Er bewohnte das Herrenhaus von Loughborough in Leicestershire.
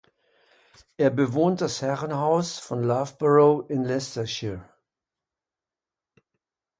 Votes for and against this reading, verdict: 0, 3, rejected